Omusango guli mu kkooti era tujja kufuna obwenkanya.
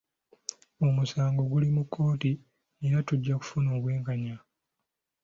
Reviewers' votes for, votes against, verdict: 2, 0, accepted